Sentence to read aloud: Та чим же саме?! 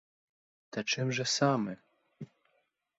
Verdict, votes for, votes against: accepted, 4, 0